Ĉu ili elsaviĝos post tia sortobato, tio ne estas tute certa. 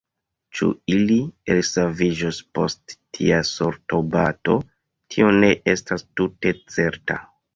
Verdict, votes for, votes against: rejected, 1, 2